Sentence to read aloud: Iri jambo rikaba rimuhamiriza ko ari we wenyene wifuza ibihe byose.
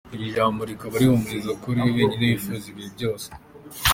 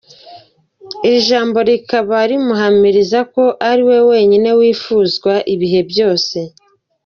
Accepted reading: second